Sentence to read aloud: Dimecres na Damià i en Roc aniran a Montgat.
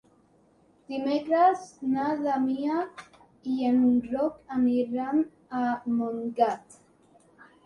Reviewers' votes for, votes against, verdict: 2, 0, accepted